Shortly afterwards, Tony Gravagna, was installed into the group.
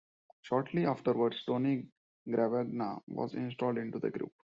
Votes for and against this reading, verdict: 0, 2, rejected